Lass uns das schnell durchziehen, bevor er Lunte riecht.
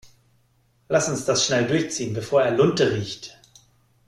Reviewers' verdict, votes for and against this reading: accepted, 2, 0